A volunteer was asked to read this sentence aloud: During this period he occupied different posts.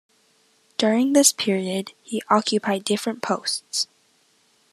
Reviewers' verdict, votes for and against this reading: accepted, 2, 0